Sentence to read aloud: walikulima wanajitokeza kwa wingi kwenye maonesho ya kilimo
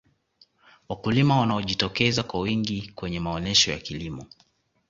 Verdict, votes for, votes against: accepted, 2, 1